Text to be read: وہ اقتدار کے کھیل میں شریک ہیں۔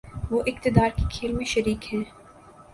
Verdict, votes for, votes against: accepted, 4, 0